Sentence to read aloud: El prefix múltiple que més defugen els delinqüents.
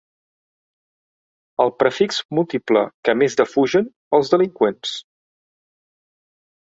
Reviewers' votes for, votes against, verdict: 3, 0, accepted